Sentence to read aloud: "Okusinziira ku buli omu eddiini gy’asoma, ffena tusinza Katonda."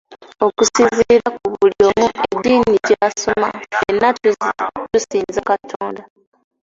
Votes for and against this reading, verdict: 0, 2, rejected